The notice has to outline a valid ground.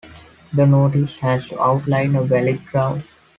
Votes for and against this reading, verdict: 1, 2, rejected